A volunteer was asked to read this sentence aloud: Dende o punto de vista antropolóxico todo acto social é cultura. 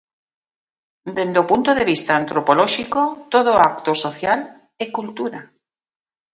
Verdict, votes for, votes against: accepted, 2, 0